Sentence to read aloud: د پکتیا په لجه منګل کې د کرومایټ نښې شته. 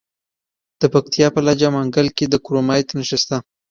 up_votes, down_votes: 2, 1